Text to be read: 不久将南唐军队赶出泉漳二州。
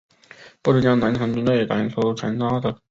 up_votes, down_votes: 0, 3